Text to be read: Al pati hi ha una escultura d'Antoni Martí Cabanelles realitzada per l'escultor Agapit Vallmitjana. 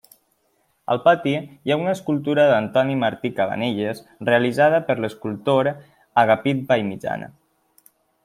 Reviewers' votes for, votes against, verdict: 1, 2, rejected